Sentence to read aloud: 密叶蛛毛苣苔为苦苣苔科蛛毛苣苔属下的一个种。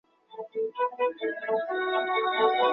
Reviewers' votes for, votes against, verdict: 2, 5, rejected